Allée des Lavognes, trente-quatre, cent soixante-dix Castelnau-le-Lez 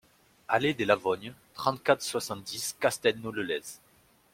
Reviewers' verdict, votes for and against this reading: accepted, 2, 0